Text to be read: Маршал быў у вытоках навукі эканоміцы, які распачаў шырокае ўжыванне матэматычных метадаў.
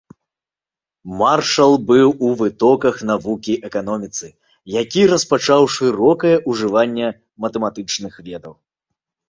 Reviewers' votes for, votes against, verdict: 1, 2, rejected